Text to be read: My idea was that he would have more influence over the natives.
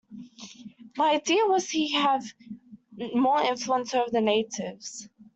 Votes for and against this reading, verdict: 0, 2, rejected